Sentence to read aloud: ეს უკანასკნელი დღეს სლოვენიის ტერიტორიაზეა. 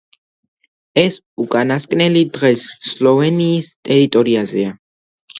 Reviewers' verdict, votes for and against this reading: accepted, 2, 0